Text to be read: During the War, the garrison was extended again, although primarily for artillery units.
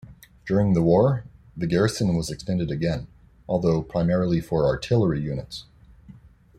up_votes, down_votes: 1, 2